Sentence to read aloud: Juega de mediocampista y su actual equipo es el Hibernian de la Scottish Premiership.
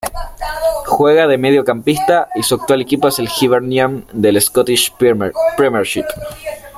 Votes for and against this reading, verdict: 0, 2, rejected